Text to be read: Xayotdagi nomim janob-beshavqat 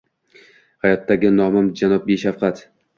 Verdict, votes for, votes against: accepted, 2, 0